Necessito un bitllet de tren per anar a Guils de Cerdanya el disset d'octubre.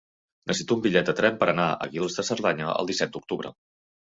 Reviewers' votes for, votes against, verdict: 1, 2, rejected